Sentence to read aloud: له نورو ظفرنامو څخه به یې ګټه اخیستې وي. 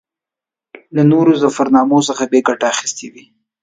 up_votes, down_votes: 2, 0